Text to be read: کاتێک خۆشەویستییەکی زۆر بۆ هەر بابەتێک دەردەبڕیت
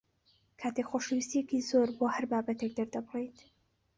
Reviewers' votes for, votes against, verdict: 3, 0, accepted